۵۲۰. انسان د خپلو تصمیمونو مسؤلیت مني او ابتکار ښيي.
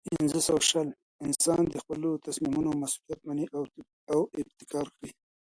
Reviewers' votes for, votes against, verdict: 0, 2, rejected